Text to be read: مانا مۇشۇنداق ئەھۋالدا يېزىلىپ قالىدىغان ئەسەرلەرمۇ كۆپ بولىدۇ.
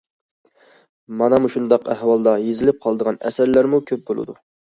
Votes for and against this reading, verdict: 2, 0, accepted